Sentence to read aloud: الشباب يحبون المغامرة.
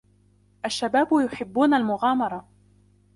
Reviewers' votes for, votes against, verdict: 2, 0, accepted